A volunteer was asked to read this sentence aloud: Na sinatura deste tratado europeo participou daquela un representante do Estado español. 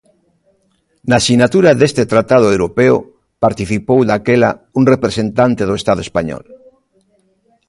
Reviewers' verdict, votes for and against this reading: accepted, 2, 0